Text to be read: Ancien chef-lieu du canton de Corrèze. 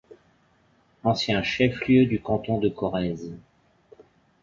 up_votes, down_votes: 2, 0